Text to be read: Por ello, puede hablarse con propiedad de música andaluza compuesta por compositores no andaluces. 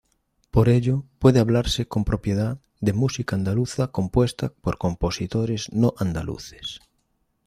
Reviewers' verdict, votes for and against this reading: accepted, 2, 0